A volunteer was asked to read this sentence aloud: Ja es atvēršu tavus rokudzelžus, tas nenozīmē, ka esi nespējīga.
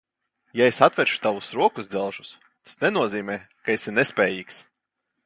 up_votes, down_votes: 0, 3